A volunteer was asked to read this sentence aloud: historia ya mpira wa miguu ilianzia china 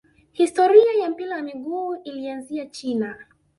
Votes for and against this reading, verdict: 2, 0, accepted